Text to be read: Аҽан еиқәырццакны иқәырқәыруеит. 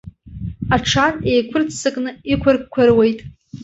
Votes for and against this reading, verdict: 2, 0, accepted